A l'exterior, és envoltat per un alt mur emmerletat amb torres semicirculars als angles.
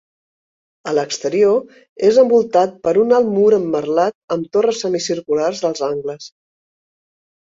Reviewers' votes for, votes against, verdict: 2, 1, accepted